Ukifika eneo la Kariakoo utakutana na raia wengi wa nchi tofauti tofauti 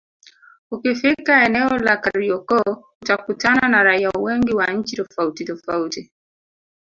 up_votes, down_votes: 0, 2